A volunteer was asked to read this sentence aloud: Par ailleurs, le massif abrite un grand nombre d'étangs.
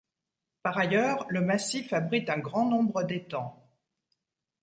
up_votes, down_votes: 2, 0